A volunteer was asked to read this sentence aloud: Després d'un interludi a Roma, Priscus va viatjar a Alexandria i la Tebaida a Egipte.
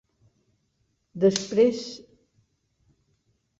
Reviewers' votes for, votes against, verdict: 0, 2, rejected